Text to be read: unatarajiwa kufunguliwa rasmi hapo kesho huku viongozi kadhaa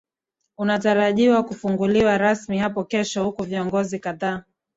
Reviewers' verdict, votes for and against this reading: accepted, 3, 1